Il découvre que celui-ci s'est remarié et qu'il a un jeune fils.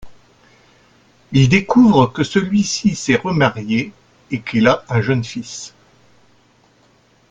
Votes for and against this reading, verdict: 2, 0, accepted